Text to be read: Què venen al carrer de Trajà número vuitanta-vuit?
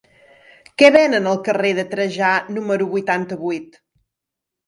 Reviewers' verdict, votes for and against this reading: accepted, 3, 0